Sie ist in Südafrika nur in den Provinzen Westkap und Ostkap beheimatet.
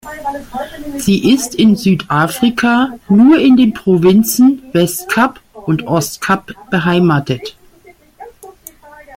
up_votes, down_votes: 1, 2